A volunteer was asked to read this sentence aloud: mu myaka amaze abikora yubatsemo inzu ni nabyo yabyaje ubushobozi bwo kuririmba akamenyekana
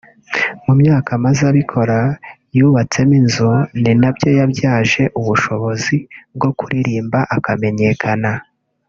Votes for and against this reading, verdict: 2, 0, accepted